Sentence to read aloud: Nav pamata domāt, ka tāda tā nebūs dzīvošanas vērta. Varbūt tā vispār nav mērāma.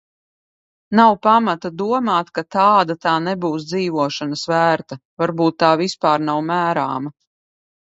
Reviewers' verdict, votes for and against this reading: accepted, 2, 0